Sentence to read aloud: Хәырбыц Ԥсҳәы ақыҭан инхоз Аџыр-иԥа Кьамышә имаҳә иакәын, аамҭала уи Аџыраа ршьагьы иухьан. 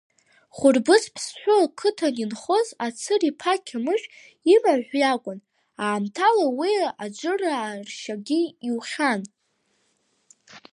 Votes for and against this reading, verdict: 1, 2, rejected